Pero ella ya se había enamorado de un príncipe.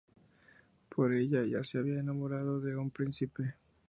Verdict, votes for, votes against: rejected, 0, 2